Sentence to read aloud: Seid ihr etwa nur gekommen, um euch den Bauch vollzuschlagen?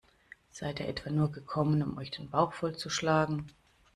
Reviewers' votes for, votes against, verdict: 2, 0, accepted